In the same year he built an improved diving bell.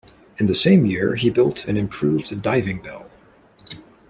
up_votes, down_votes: 2, 1